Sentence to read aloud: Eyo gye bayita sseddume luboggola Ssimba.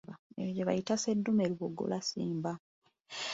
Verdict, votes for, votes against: accepted, 3, 2